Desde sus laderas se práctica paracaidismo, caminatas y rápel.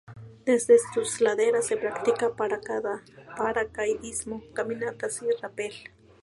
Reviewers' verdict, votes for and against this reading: rejected, 0, 2